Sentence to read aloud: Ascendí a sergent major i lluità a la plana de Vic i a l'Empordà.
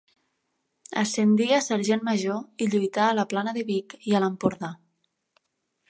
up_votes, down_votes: 2, 0